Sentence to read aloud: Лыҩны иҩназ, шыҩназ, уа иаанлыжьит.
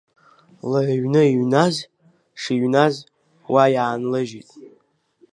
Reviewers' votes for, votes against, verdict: 2, 0, accepted